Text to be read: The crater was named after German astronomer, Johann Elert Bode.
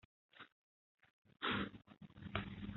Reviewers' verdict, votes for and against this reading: rejected, 0, 2